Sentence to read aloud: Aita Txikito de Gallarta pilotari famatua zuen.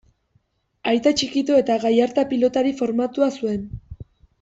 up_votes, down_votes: 1, 2